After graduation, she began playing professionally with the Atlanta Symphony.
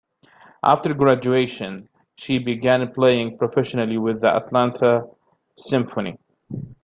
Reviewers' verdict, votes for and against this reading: accepted, 2, 0